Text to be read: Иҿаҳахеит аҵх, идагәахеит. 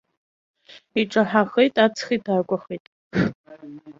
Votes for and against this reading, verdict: 0, 2, rejected